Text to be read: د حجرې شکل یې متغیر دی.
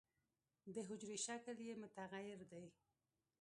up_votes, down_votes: 1, 2